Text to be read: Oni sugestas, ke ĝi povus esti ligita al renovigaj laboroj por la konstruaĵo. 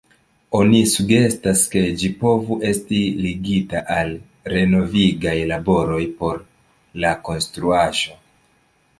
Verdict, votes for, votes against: accepted, 2, 0